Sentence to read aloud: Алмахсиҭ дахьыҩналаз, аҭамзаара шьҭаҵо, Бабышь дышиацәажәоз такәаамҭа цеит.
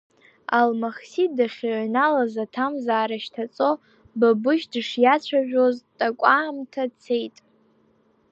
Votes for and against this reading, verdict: 2, 0, accepted